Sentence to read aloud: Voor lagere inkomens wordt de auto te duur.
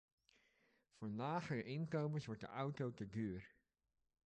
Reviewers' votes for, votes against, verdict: 2, 1, accepted